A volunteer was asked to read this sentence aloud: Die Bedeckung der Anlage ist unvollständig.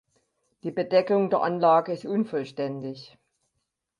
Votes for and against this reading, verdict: 4, 0, accepted